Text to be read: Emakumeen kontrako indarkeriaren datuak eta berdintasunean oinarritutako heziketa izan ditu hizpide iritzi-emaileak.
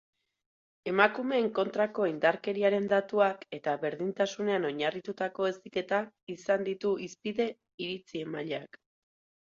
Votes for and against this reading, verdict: 2, 2, rejected